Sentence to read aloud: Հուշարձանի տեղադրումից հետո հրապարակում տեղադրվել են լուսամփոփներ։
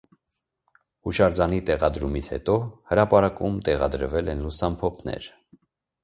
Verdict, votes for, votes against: accepted, 2, 0